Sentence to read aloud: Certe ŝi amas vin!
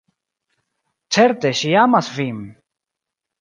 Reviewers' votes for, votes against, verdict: 0, 2, rejected